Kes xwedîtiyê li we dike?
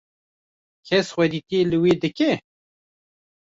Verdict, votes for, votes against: rejected, 1, 2